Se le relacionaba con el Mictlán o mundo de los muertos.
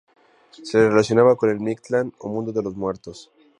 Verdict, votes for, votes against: accepted, 2, 0